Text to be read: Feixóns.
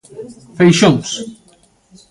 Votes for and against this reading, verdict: 1, 2, rejected